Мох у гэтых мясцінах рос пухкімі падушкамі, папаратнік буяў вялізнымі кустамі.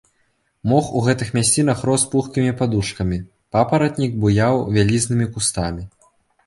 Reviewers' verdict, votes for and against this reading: accepted, 2, 0